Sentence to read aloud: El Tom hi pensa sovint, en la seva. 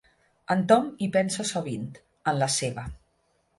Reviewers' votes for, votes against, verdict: 1, 2, rejected